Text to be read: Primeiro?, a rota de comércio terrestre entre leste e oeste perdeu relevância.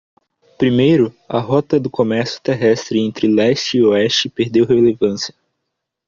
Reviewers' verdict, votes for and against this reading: rejected, 0, 2